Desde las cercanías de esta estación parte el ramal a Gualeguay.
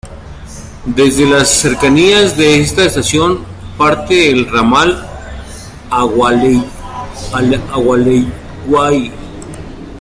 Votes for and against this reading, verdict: 0, 2, rejected